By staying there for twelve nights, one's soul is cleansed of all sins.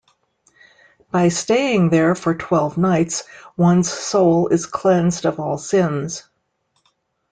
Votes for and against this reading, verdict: 3, 0, accepted